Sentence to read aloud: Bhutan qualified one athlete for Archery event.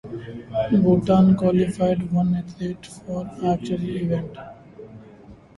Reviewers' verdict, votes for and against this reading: accepted, 2, 0